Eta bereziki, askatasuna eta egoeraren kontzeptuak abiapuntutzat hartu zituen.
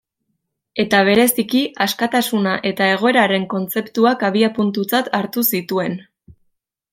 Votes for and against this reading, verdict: 2, 0, accepted